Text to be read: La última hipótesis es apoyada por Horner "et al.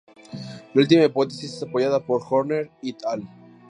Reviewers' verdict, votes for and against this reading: rejected, 0, 2